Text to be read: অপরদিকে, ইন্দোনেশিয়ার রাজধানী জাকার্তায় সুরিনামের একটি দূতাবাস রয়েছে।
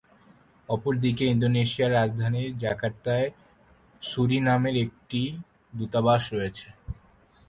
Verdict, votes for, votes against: accepted, 2, 0